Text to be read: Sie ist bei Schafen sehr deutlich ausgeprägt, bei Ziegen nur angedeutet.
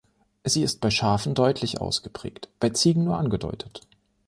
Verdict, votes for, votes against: rejected, 0, 2